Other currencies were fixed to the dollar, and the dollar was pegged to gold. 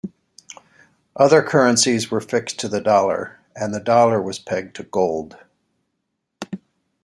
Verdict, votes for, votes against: accepted, 2, 0